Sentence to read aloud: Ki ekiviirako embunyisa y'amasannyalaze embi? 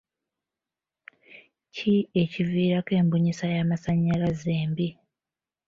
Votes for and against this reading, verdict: 3, 0, accepted